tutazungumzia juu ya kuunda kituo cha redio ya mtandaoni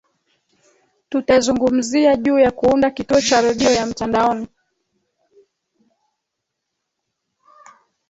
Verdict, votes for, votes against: rejected, 1, 2